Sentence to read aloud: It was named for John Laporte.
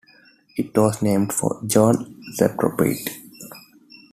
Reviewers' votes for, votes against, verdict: 2, 0, accepted